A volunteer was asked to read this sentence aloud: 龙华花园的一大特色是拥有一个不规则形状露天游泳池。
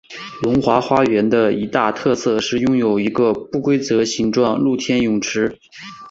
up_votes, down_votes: 2, 1